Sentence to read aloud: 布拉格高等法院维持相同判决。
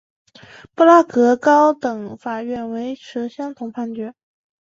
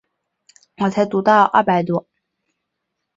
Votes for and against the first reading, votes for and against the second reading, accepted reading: 2, 0, 0, 3, first